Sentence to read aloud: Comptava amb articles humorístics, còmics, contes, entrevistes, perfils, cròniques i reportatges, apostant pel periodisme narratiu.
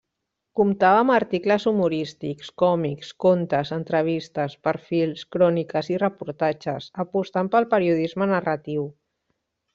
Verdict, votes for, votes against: rejected, 0, 2